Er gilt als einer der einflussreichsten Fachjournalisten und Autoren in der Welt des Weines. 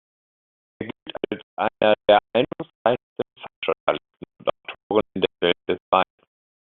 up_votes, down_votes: 0, 2